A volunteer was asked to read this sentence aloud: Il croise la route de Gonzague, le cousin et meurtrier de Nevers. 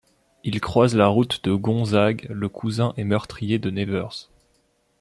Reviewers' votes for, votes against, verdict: 0, 2, rejected